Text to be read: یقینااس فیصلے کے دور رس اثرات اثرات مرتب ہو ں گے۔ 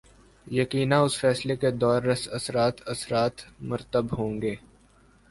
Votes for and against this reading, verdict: 0, 2, rejected